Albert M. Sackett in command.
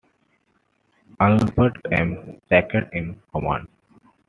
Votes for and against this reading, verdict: 2, 0, accepted